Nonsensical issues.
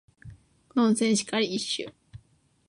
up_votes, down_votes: 1, 2